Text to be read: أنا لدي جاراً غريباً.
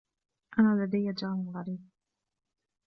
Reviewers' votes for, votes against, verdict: 1, 2, rejected